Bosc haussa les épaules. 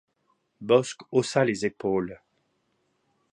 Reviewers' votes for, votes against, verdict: 2, 0, accepted